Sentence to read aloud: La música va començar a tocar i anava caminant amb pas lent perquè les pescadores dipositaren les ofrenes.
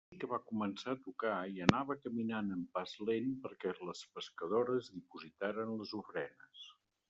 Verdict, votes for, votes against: rejected, 0, 2